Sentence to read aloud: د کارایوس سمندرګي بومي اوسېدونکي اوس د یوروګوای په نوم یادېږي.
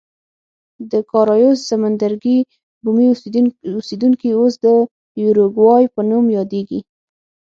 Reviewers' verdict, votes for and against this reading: rejected, 3, 6